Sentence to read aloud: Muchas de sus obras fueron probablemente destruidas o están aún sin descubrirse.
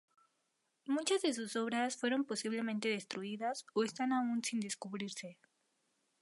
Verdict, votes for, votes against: rejected, 0, 2